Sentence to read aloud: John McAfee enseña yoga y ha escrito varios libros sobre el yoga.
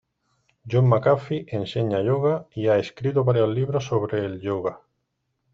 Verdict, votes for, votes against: accepted, 2, 1